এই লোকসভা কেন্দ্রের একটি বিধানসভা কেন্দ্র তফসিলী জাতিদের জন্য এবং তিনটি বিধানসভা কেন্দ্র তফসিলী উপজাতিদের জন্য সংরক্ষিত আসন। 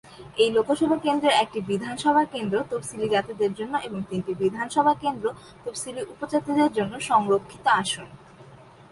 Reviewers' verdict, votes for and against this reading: accepted, 12, 0